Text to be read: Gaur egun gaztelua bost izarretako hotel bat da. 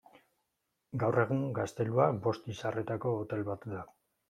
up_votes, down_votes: 2, 0